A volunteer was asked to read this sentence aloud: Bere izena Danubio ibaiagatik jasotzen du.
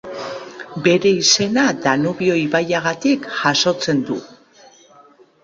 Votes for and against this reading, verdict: 2, 0, accepted